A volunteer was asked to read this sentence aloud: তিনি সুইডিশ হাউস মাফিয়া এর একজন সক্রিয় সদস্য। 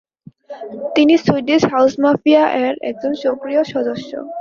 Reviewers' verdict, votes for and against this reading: accepted, 9, 3